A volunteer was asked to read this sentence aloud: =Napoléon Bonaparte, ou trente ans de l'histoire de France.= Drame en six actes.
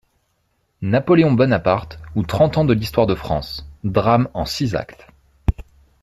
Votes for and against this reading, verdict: 2, 0, accepted